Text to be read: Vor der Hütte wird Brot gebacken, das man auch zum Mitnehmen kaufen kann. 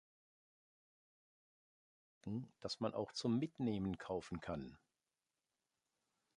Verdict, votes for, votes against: rejected, 0, 2